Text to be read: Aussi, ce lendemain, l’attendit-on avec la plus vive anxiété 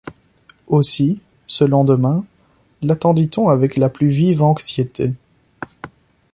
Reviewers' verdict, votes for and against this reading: accepted, 2, 0